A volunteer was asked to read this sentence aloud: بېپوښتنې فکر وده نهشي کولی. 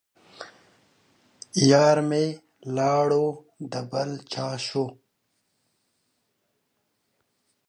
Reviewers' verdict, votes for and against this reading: rejected, 1, 2